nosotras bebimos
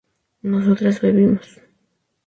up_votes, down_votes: 2, 2